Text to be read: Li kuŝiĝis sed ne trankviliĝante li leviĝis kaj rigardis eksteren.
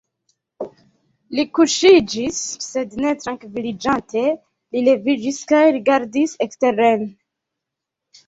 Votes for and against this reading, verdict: 2, 0, accepted